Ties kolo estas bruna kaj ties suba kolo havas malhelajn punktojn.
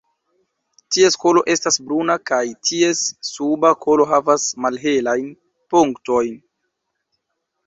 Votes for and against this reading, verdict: 0, 2, rejected